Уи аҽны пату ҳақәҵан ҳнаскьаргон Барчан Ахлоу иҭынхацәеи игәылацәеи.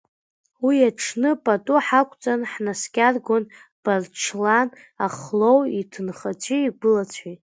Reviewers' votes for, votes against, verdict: 1, 2, rejected